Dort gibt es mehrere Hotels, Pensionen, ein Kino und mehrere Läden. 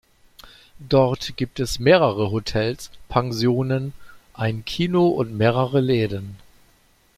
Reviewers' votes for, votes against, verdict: 2, 0, accepted